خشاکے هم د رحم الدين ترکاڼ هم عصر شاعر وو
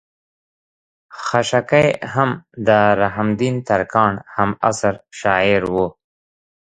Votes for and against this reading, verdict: 2, 0, accepted